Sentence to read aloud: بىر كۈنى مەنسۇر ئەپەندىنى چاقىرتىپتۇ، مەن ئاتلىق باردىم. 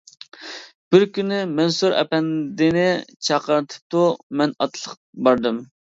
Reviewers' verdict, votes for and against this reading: accepted, 2, 1